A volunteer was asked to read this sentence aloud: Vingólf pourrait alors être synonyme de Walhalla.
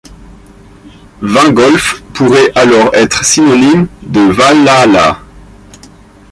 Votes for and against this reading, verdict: 2, 0, accepted